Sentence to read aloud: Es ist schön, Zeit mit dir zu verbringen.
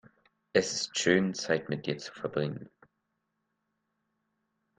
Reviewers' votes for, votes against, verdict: 2, 0, accepted